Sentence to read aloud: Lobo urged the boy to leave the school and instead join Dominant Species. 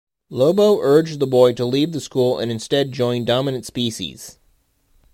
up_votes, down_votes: 2, 0